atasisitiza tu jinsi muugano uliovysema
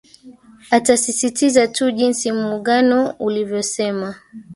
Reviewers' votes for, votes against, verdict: 1, 2, rejected